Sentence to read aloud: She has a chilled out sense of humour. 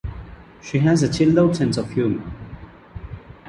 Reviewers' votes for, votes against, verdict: 2, 0, accepted